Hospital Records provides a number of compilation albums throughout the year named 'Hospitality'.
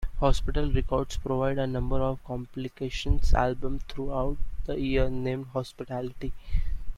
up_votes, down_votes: 1, 2